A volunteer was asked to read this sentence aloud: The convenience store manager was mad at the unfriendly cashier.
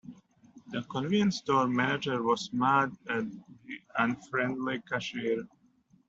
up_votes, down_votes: 1, 2